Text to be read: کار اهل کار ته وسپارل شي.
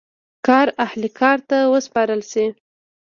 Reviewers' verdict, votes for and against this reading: accepted, 2, 0